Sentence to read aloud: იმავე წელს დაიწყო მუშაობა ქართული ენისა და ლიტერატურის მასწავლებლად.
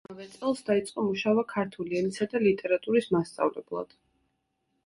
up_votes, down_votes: 0, 2